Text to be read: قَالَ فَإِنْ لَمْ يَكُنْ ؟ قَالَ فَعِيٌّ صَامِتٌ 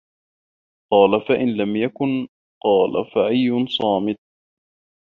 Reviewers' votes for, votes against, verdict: 0, 2, rejected